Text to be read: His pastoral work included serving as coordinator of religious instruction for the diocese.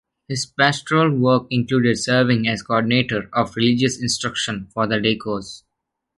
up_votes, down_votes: 0, 2